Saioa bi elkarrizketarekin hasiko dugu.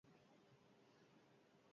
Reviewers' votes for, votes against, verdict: 2, 4, rejected